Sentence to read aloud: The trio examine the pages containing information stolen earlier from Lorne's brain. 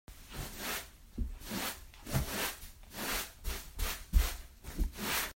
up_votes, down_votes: 0, 2